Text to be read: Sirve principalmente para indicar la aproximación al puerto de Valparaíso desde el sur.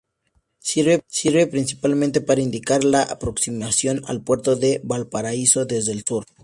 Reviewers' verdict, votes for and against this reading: rejected, 0, 2